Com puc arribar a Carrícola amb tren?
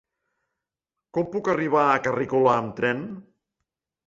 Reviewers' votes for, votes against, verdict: 3, 0, accepted